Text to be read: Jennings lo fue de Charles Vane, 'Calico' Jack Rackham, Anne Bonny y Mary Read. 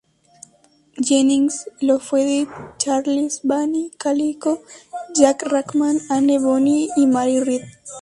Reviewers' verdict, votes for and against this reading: accepted, 2, 0